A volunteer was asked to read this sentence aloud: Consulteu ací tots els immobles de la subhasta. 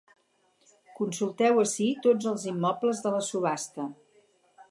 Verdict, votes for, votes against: accepted, 2, 0